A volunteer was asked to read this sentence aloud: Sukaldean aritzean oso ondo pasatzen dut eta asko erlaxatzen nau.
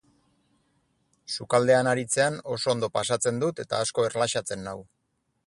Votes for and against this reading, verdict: 4, 0, accepted